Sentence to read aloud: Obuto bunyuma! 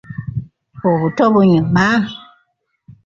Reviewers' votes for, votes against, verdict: 0, 2, rejected